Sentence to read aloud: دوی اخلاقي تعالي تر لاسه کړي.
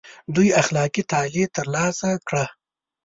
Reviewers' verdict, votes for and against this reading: accepted, 2, 0